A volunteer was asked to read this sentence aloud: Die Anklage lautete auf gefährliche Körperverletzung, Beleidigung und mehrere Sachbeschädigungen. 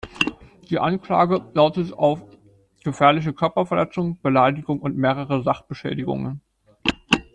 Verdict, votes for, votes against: rejected, 0, 2